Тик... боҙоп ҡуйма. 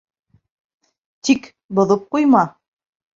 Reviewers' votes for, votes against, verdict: 2, 1, accepted